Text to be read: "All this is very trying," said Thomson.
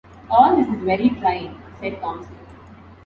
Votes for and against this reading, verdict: 2, 0, accepted